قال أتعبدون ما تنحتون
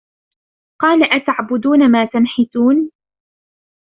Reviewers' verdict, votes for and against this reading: rejected, 0, 2